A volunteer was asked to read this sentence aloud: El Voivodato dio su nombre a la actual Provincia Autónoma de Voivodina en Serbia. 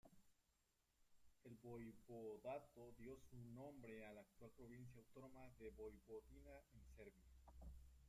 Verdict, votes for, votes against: rejected, 0, 2